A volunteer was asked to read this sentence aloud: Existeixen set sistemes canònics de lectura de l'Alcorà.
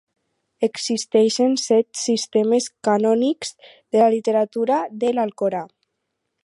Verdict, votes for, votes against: rejected, 0, 4